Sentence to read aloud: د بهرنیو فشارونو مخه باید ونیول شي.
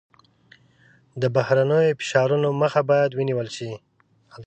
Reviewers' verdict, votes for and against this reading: rejected, 0, 2